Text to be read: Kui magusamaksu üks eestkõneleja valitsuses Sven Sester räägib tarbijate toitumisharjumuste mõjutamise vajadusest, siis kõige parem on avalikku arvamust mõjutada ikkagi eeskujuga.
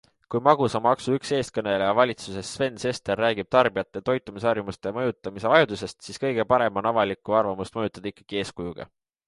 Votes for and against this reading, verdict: 2, 0, accepted